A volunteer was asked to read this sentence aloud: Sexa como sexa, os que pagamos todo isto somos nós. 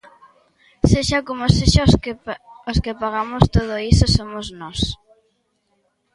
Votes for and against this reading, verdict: 0, 2, rejected